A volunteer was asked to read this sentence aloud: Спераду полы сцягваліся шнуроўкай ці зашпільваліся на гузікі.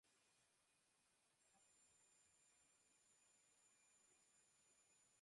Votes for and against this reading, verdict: 0, 2, rejected